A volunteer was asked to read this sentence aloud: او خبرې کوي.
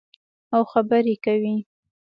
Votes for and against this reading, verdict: 2, 0, accepted